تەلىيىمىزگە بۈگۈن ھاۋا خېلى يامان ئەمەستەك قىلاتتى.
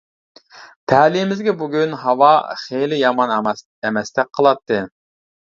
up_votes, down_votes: 1, 2